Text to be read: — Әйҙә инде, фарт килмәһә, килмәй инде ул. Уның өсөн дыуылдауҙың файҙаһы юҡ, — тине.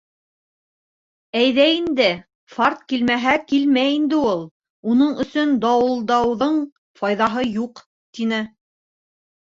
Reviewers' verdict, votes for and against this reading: rejected, 0, 2